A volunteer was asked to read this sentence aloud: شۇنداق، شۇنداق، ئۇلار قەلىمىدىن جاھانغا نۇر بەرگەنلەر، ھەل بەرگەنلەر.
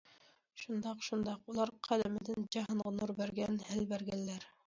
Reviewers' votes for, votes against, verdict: 0, 2, rejected